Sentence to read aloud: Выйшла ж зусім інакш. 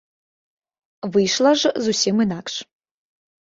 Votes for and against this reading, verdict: 2, 0, accepted